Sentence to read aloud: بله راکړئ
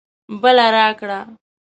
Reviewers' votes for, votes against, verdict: 1, 2, rejected